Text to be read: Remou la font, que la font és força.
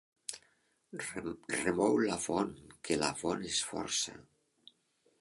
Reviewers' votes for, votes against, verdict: 1, 2, rejected